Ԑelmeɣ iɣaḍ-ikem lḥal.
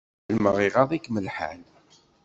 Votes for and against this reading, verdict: 1, 2, rejected